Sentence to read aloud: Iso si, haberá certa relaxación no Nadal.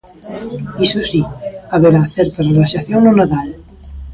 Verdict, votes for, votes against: rejected, 1, 2